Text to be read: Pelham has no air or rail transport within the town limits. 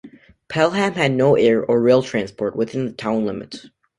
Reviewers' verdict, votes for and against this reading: rejected, 1, 2